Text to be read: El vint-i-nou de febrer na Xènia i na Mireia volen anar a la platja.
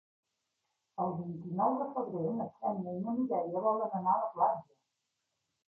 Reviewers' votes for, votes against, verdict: 2, 1, accepted